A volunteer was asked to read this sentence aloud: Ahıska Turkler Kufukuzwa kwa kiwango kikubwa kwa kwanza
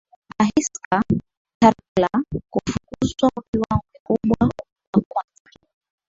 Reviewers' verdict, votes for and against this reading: rejected, 0, 2